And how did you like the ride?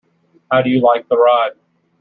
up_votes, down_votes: 1, 2